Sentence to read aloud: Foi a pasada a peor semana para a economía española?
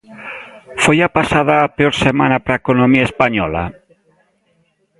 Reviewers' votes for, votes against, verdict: 2, 0, accepted